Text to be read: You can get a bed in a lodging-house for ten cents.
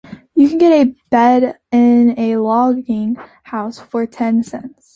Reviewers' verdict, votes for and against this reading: rejected, 1, 2